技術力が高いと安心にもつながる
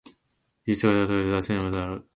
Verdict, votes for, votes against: rejected, 1, 2